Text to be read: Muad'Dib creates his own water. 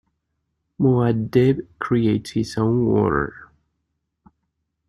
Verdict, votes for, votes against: rejected, 0, 2